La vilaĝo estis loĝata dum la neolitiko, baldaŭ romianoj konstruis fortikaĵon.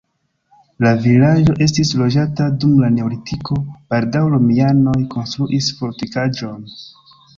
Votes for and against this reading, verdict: 2, 1, accepted